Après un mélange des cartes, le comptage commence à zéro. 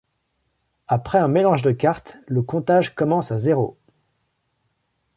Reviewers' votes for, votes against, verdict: 0, 2, rejected